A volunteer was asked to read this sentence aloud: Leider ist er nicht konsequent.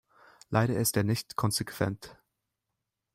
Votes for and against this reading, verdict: 2, 0, accepted